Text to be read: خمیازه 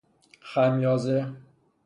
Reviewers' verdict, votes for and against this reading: accepted, 3, 0